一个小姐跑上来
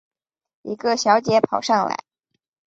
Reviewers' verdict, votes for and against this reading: accepted, 2, 0